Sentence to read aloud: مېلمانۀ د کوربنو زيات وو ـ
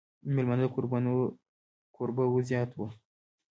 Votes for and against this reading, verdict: 2, 1, accepted